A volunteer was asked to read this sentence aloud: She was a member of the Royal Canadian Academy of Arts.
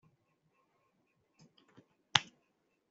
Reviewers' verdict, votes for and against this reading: rejected, 0, 2